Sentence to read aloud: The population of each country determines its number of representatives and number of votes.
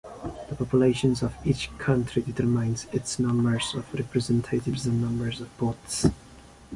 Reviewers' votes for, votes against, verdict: 1, 2, rejected